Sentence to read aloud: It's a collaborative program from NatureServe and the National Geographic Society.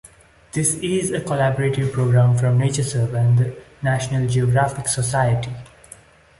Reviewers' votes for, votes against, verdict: 0, 2, rejected